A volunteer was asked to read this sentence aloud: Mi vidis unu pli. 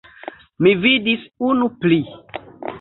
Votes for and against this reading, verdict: 0, 2, rejected